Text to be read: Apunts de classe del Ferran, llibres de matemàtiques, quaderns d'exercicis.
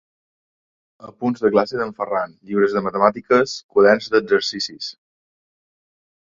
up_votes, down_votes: 2, 0